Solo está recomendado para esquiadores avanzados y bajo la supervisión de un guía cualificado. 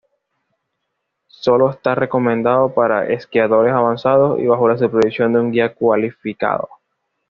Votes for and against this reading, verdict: 2, 0, accepted